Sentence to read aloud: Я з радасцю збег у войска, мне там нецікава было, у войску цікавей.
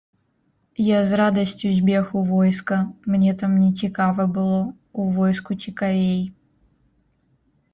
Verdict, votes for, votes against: accepted, 2, 0